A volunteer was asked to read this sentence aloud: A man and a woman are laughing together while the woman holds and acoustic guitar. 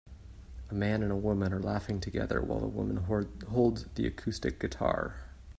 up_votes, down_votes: 0, 2